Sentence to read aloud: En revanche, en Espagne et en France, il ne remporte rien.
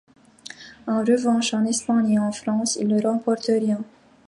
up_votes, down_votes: 2, 0